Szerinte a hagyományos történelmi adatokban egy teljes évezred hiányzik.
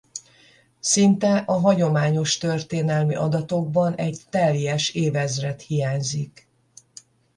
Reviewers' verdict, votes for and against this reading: rejected, 0, 10